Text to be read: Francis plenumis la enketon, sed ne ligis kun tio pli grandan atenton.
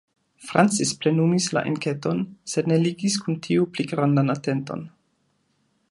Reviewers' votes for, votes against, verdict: 2, 0, accepted